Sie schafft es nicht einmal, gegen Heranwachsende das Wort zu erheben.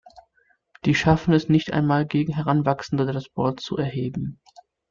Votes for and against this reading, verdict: 0, 2, rejected